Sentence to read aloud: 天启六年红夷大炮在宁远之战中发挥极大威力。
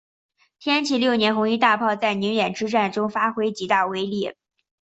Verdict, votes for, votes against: rejected, 0, 2